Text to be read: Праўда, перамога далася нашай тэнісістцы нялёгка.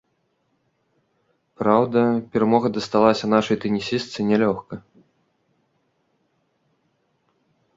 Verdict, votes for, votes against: rejected, 1, 2